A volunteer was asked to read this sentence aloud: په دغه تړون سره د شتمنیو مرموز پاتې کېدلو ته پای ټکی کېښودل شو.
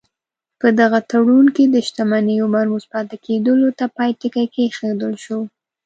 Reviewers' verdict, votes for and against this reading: rejected, 0, 2